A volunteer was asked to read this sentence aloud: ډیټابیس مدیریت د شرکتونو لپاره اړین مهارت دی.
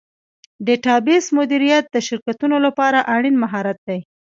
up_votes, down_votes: 1, 2